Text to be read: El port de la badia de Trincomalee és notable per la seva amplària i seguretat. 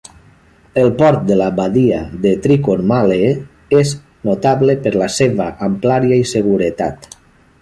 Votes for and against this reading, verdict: 1, 2, rejected